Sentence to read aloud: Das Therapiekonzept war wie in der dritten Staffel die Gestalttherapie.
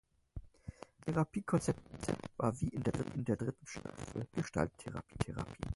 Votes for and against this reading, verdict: 0, 4, rejected